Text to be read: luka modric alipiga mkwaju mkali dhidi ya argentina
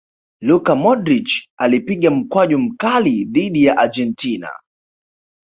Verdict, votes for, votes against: accepted, 2, 1